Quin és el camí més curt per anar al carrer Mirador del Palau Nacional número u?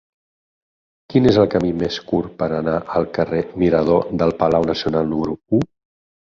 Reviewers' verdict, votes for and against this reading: accepted, 6, 0